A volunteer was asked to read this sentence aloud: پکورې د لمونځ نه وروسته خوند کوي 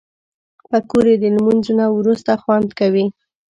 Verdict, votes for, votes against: accepted, 2, 0